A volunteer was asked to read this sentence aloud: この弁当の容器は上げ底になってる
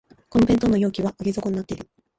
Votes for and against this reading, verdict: 0, 2, rejected